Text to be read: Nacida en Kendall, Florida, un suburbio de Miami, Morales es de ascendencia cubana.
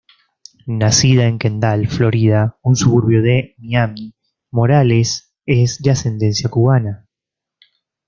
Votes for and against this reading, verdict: 2, 0, accepted